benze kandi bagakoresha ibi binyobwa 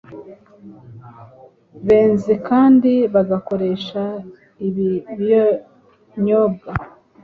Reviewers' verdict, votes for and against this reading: accepted, 2, 1